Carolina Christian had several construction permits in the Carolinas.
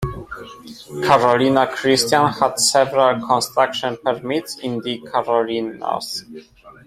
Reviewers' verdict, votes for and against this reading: accepted, 2, 1